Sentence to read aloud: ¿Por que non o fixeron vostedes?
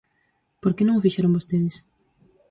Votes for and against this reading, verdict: 4, 0, accepted